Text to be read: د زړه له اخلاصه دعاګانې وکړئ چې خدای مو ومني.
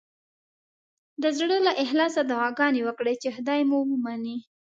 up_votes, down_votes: 2, 0